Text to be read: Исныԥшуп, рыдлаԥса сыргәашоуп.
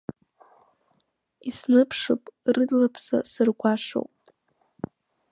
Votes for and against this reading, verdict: 2, 0, accepted